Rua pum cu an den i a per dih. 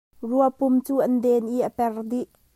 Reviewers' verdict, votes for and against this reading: rejected, 1, 2